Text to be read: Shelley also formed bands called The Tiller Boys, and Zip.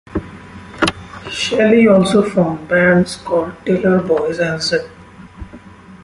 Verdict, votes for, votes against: accepted, 2, 1